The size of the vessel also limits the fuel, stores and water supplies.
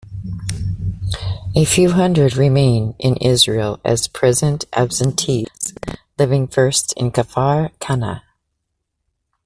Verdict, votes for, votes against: rejected, 0, 2